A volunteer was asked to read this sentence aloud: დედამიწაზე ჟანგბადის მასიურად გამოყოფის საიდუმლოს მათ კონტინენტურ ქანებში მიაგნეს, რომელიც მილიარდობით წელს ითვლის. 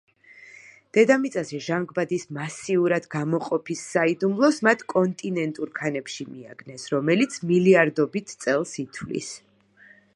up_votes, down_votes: 2, 0